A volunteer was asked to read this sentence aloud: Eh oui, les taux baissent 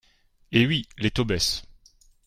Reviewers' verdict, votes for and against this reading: accepted, 2, 0